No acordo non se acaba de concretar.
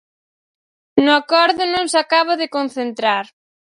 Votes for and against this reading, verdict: 0, 4, rejected